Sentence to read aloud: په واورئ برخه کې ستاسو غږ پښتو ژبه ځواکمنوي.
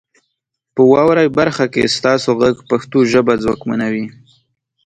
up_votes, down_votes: 3, 0